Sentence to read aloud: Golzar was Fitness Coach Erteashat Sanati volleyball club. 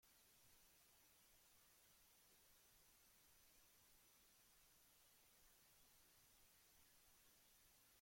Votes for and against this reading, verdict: 0, 2, rejected